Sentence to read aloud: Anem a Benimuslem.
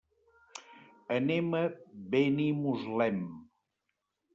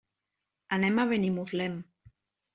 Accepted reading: second